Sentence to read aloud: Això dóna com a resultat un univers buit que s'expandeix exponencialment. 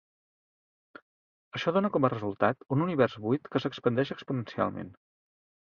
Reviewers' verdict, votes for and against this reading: accepted, 2, 0